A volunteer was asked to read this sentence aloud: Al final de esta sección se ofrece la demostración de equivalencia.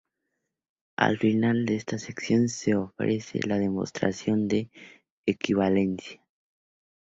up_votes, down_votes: 2, 0